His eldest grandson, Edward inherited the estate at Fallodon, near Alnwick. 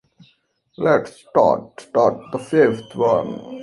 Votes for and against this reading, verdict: 0, 2, rejected